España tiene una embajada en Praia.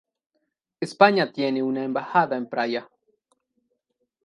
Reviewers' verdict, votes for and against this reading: accepted, 2, 0